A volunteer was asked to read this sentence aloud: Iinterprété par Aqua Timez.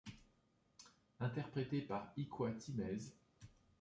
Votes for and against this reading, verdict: 1, 2, rejected